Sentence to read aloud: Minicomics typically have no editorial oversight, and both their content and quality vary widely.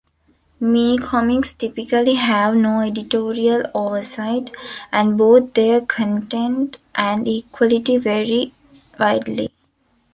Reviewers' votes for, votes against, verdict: 1, 2, rejected